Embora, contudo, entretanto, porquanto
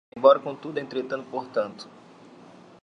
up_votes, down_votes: 0, 2